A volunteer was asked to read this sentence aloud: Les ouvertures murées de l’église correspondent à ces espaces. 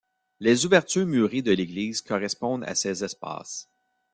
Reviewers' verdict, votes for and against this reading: accepted, 2, 0